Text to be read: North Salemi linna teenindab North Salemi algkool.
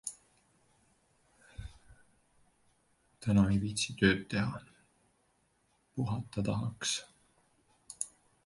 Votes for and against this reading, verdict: 0, 2, rejected